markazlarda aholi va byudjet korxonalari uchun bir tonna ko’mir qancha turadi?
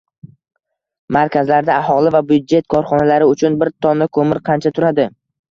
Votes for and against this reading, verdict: 0, 2, rejected